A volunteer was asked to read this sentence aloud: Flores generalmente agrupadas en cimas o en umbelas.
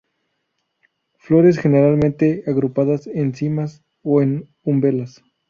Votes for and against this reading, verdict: 0, 2, rejected